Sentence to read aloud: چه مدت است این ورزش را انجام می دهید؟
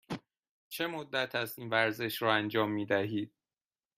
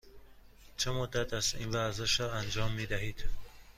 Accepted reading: second